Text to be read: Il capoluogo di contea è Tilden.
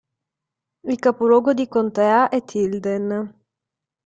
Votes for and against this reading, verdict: 2, 0, accepted